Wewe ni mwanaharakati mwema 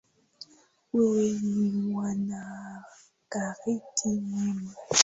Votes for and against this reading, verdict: 0, 2, rejected